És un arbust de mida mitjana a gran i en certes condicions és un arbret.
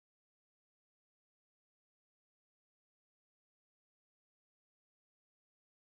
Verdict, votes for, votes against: rejected, 0, 2